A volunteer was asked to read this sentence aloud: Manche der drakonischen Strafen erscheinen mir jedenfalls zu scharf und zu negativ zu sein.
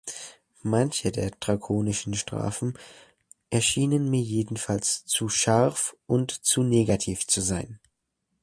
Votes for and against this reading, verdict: 1, 2, rejected